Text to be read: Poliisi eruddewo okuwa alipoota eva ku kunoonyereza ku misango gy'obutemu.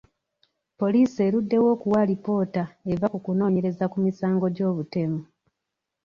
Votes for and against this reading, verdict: 2, 0, accepted